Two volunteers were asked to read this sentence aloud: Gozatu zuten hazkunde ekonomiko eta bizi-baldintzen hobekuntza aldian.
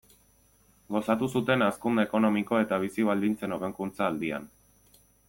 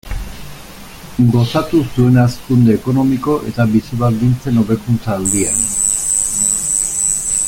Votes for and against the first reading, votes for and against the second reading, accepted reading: 2, 0, 0, 4, first